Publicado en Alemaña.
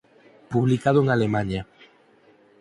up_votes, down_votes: 4, 0